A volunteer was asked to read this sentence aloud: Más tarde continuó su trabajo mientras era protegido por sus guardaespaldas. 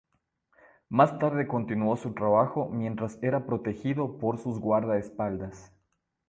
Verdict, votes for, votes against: accepted, 3, 0